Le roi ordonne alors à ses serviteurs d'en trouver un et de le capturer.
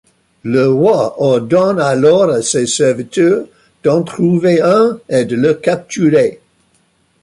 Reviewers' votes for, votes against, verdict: 2, 0, accepted